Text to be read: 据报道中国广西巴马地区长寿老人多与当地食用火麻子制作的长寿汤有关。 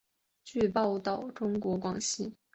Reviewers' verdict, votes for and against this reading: rejected, 0, 6